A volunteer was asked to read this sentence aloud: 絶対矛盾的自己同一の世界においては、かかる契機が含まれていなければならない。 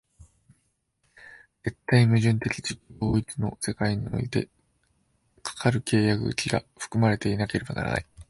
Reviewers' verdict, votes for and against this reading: rejected, 3, 4